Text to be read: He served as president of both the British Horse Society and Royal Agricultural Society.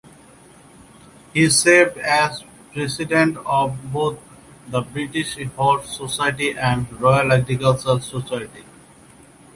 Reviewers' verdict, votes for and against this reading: accepted, 2, 0